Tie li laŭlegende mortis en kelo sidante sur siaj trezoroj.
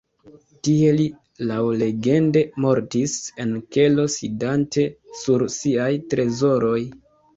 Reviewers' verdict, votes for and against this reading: rejected, 0, 2